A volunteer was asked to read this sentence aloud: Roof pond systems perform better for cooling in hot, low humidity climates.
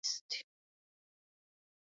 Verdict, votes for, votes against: rejected, 0, 2